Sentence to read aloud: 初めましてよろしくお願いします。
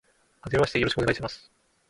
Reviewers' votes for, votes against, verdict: 1, 2, rejected